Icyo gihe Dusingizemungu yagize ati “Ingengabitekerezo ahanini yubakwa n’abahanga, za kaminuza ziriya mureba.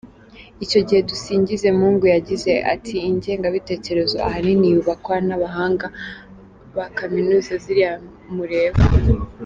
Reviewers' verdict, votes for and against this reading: rejected, 1, 3